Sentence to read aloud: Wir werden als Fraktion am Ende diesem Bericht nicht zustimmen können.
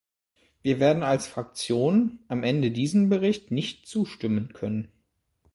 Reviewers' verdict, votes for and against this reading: accepted, 2, 0